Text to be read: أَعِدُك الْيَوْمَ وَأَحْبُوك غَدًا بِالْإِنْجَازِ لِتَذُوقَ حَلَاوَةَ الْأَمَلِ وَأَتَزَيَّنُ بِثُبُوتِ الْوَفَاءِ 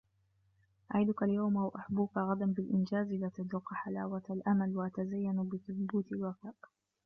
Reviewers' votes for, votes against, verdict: 0, 2, rejected